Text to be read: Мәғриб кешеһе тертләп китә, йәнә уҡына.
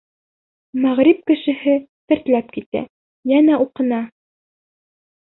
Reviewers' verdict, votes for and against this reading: accepted, 2, 0